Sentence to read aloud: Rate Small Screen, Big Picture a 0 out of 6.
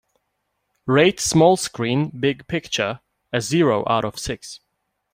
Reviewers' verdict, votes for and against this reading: rejected, 0, 2